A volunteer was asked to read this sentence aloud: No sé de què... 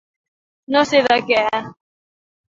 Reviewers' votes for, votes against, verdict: 2, 0, accepted